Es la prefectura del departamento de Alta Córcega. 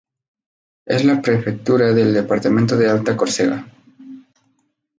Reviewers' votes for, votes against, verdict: 2, 0, accepted